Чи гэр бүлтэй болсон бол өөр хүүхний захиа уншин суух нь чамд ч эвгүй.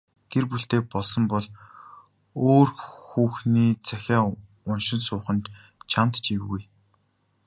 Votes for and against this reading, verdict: 3, 1, accepted